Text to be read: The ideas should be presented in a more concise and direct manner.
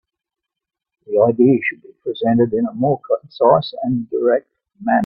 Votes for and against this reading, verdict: 1, 2, rejected